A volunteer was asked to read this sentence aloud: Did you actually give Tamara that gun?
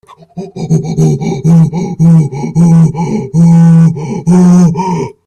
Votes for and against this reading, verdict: 0, 4, rejected